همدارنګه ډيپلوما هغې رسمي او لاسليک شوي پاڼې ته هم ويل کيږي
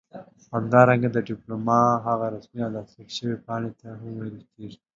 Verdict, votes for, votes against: accepted, 2, 1